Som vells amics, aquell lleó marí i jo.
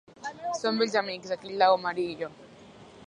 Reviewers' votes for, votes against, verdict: 0, 2, rejected